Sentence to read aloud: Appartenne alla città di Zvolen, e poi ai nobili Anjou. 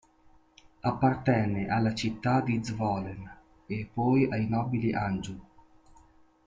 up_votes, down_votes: 1, 2